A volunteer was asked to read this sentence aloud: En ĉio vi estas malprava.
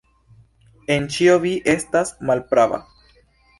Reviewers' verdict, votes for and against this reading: rejected, 1, 2